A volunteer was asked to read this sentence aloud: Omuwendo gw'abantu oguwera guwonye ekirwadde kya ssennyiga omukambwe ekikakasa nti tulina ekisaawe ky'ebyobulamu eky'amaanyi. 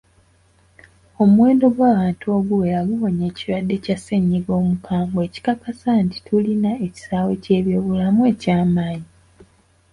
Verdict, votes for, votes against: accepted, 2, 0